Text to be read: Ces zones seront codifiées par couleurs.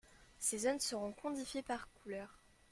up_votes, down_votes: 0, 2